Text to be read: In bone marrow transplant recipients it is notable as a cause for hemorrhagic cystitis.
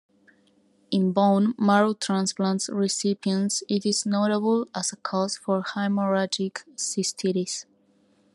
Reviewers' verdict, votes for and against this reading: rejected, 1, 2